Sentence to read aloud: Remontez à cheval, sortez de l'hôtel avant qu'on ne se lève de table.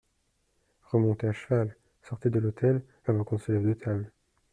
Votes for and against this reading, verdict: 2, 1, accepted